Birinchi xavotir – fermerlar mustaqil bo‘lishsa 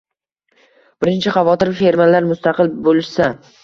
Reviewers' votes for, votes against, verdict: 2, 0, accepted